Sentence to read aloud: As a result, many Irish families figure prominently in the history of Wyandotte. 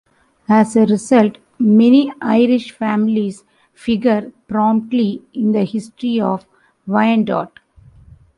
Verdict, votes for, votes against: rejected, 1, 2